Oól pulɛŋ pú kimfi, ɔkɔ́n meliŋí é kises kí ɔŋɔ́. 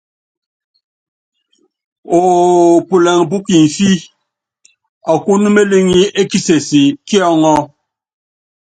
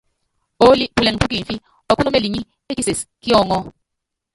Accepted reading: first